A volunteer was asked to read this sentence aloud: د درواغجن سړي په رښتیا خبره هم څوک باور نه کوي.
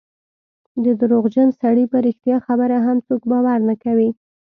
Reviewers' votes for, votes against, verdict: 2, 0, accepted